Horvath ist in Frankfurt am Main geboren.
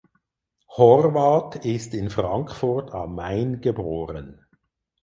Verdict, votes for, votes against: accepted, 4, 0